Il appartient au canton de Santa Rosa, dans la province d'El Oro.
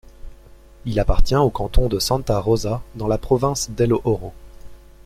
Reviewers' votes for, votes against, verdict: 2, 0, accepted